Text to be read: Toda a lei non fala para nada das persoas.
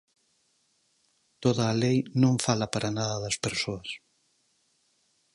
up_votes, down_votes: 4, 0